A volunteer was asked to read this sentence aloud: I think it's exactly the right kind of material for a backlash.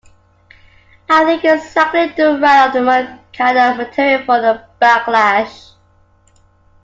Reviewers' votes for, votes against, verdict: 2, 1, accepted